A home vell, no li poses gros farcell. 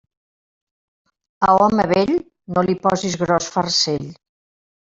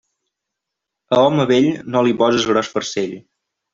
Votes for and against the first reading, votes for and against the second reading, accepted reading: 1, 2, 2, 0, second